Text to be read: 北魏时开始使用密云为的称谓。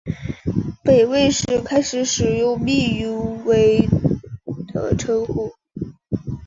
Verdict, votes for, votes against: rejected, 1, 2